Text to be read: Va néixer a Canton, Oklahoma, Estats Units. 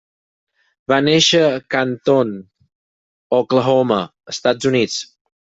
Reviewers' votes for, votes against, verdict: 6, 0, accepted